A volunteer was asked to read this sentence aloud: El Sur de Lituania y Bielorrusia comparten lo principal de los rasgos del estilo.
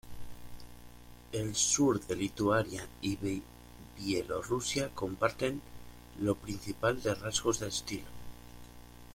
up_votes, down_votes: 0, 2